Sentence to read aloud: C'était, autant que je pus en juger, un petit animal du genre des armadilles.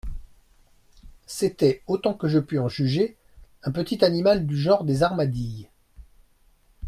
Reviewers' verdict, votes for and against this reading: accepted, 2, 0